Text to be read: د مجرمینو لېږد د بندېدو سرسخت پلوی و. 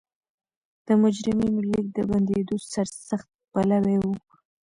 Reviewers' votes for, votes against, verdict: 0, 2, rejected